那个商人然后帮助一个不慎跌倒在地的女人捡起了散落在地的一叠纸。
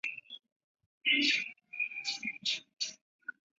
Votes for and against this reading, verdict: 2, 0, accepted